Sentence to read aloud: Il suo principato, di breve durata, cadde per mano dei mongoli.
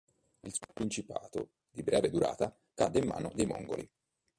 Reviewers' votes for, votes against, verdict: 0, 3, rejected